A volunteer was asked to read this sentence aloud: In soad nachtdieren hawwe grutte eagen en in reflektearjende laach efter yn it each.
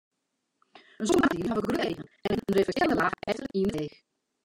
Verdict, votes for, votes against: rejected, 0, 2